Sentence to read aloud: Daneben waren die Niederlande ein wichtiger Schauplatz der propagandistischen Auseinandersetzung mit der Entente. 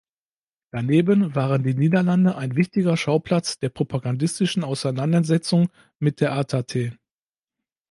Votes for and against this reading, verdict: 2, 3, rejected